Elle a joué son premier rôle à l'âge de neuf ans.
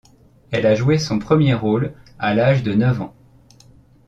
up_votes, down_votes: 2, 0